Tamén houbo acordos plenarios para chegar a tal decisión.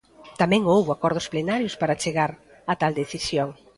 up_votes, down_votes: 2, 0